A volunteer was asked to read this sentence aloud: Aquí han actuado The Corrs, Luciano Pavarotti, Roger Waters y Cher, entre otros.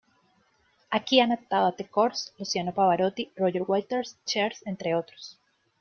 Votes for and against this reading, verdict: 1, 2, rejected